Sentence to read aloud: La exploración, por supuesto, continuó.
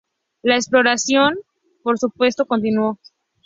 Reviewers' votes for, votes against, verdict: 2, 0, accepted